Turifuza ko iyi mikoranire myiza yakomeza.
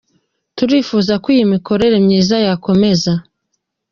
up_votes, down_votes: 1, 2